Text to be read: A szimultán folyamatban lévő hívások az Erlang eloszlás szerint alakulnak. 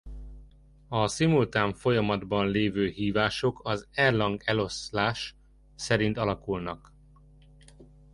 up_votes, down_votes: 1, 2